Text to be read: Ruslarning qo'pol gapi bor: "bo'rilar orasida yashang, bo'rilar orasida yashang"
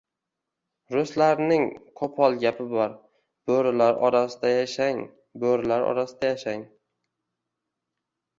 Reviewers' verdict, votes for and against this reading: accepted, 2, 0